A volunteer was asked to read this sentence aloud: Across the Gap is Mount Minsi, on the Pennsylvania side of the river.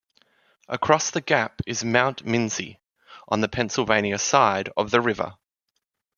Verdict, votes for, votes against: rejected, 0, 2